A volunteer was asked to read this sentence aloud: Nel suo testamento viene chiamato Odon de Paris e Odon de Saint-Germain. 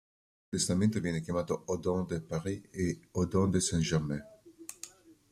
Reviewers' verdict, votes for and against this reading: rejected, 0, 2